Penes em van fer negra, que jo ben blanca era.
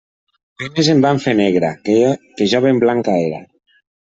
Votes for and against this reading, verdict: 0, 2, rejected